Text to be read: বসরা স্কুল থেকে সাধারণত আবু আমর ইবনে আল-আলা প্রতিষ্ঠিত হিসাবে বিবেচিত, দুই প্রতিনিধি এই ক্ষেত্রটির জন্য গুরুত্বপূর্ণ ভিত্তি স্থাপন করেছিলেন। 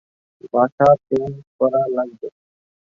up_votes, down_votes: 1, 2